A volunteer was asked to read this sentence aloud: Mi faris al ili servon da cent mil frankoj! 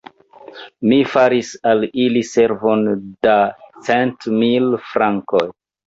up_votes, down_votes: 1, 2